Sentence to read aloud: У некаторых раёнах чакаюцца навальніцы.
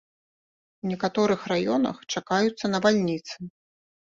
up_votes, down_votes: 2, 1